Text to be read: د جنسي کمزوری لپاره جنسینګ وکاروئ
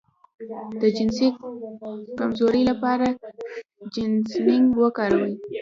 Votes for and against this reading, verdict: 0, 2, rejected